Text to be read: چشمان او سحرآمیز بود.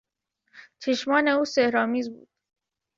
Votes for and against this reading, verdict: 0, 2, rejected